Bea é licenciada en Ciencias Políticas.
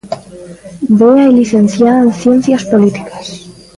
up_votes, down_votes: 0, 2